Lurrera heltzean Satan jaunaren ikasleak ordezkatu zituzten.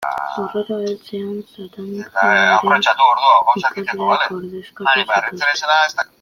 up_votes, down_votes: 0, 2